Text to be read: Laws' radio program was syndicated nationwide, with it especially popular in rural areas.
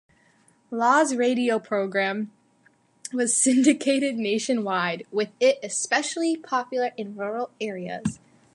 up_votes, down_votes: 2, 0